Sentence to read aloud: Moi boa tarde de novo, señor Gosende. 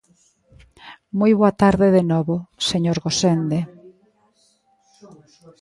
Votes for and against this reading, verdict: 2, 0, accepted